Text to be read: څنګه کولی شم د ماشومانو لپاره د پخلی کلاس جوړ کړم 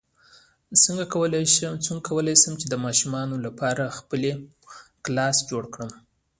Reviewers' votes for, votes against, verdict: 0, 2, rejected